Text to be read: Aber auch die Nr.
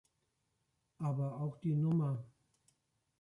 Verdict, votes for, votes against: rejected, 0, 2